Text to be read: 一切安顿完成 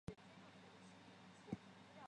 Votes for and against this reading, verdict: 0, 2, rejected